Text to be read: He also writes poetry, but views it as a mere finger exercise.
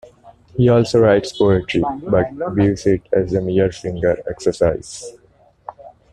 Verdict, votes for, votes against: accepted, 2, 0